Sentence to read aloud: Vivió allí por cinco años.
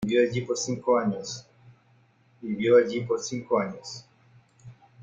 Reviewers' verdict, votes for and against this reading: accepted, 2, 0